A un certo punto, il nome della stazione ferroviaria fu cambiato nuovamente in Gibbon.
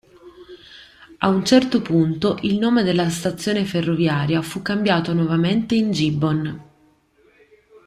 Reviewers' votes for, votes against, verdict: 2, 0, accepted